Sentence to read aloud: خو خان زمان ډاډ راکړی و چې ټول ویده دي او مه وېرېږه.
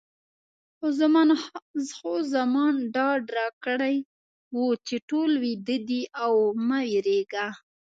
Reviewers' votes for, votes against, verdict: 1, 2, rejected